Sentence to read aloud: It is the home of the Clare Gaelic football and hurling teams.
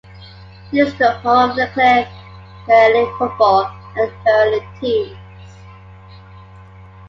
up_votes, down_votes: 0, 2